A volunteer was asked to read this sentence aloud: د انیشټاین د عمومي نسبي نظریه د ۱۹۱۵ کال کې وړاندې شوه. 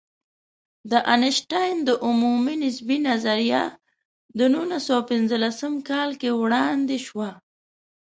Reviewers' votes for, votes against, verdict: 0, 2, rejected